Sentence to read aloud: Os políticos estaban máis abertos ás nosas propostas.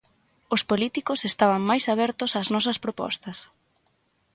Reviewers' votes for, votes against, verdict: 6, 0, accepted